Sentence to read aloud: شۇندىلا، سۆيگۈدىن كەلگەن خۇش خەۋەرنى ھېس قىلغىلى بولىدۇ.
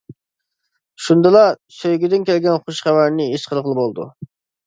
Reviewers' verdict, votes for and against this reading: accepted, 2, 0